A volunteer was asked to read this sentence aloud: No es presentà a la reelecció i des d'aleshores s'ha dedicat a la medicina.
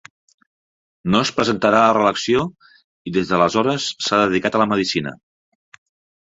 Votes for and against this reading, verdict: 1, 2, rejected